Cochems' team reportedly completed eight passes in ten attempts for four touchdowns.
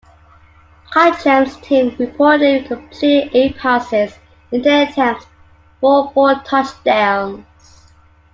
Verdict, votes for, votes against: accepted, 2, 0